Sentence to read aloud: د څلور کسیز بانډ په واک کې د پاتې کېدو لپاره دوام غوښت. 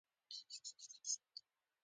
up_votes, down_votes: 1, 2